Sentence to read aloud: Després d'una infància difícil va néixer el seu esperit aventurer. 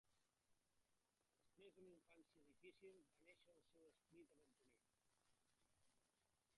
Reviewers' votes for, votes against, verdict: 0, 3, rejected